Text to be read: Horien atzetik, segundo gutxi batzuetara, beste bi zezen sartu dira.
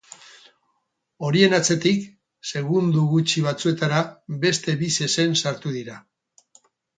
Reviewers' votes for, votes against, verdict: 2, 2, rejected